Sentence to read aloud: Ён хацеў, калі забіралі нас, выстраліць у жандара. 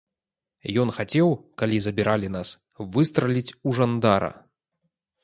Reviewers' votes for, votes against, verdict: 2, 0, accepted